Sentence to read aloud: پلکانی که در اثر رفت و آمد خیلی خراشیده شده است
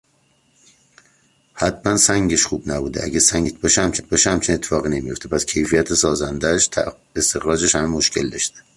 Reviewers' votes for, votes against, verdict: 0, 2, rejected